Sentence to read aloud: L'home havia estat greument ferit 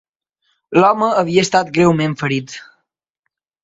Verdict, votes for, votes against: accepted, 2, 0